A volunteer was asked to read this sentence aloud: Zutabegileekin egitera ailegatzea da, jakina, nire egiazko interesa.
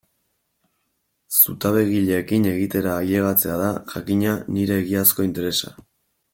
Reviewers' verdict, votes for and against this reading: accepted, 2, 0